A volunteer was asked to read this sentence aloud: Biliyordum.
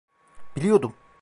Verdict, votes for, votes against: accepted, 2, 0